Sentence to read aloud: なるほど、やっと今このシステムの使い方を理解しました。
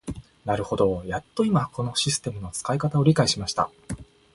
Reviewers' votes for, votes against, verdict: 2, 0, accepted